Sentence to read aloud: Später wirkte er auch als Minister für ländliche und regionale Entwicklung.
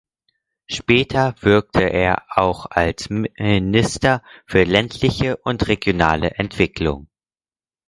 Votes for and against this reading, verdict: 2, 4, rejected